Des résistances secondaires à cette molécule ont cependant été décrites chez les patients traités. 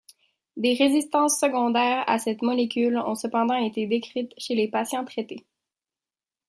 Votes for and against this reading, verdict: 2, 0, accepted